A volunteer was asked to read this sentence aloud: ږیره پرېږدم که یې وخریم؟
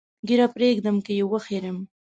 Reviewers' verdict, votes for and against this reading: accepted, 2, 1